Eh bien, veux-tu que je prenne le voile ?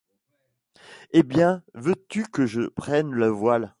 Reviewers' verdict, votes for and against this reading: rejected, 1, 2